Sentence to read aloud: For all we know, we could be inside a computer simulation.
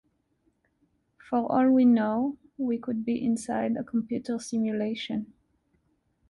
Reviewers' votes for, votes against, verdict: 2, 0, accepted